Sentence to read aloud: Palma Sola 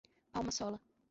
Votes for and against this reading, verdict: 2, 0, accepted